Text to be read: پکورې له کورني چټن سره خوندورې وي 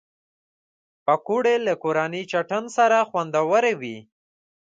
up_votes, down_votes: 2, 0